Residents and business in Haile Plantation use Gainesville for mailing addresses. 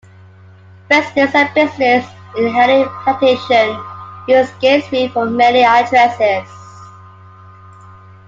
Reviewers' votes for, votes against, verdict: 2, 1, accepted